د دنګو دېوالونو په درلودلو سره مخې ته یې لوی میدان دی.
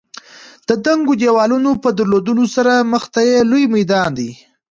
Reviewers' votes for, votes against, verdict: 2, 0, accepted